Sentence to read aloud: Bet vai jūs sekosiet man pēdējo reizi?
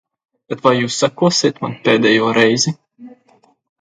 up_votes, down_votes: 2, 0